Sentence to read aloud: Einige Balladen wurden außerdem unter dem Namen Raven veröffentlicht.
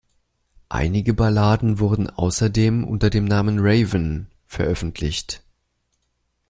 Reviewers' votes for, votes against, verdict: 2, 0, accepted